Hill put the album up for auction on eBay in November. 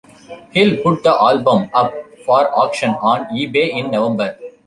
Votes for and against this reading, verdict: 2, 1, accepted